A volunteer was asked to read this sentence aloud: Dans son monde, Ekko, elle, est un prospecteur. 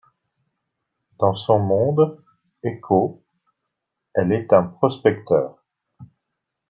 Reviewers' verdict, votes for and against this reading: rejected, 1, 2